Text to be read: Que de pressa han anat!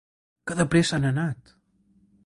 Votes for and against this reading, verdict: 3, 0, accepted